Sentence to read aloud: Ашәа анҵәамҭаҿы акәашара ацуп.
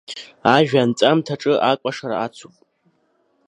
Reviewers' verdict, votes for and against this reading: rejected, 1, 3